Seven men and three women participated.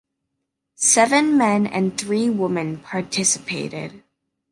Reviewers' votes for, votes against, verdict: 1, 2, rejected